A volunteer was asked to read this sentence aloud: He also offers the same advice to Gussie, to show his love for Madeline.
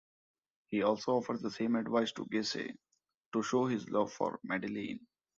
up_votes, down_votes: 2, 0